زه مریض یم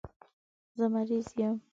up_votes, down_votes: 2, 0